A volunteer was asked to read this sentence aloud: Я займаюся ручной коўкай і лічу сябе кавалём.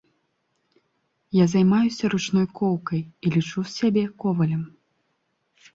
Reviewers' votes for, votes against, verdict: 0, 2, rejected